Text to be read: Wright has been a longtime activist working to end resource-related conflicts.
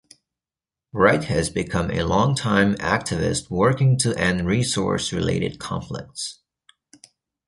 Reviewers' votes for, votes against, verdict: 2, 0, accepted